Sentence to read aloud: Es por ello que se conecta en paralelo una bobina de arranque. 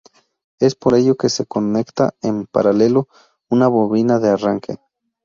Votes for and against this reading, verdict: 2, 0, accepted